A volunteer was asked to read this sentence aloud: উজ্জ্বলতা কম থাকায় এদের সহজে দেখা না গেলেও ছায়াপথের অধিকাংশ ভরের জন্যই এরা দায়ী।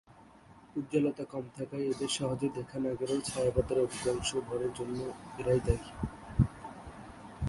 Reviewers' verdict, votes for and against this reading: rejected, 2, 3